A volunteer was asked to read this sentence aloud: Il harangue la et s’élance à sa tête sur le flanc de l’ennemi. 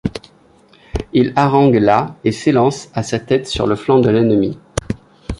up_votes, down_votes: 2, 0